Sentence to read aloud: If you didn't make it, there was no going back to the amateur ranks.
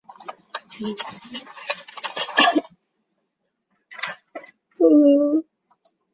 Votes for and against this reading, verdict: 0, 2, rejected